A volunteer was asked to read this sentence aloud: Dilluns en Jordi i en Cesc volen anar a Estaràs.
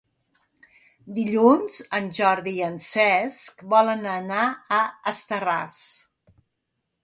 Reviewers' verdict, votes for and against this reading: rejected, 0, 2